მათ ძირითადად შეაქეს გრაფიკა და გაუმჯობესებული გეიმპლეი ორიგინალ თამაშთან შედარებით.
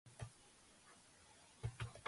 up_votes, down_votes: 1, 5